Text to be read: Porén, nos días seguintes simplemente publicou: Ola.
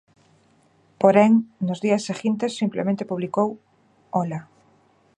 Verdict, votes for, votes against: accepted, 2, 0